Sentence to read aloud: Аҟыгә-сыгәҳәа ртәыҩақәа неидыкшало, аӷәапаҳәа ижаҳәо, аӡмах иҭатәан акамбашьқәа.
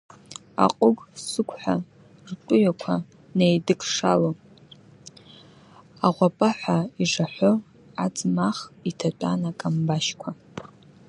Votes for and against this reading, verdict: 2, 1, accepted